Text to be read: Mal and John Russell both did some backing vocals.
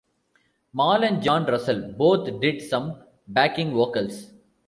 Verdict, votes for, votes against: accepted, 2, 0